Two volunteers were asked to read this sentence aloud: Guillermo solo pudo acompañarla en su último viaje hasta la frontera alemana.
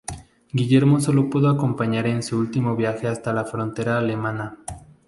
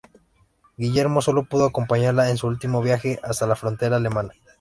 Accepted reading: second